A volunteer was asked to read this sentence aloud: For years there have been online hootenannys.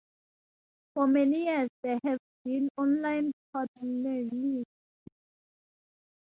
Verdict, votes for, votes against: rejected, 0, 2